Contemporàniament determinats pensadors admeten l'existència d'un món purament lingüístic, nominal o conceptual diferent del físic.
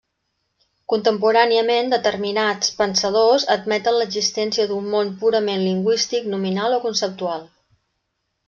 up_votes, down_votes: 0, 2